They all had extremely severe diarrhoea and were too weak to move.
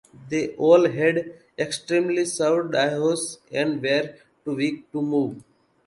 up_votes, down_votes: 0, 2